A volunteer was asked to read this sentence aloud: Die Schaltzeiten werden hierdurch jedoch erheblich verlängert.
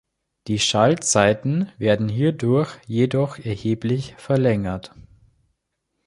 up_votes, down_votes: 3, 0